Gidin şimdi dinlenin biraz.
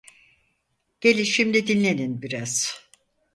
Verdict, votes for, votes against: rejected, 0, 4